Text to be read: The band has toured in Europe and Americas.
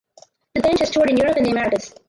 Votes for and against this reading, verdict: 2, 4, rejected